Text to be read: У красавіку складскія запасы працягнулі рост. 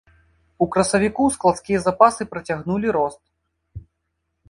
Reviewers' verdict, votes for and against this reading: accepted, 2, 0